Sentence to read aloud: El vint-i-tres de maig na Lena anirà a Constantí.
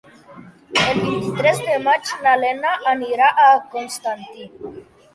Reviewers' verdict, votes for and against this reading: accepted, 2, 1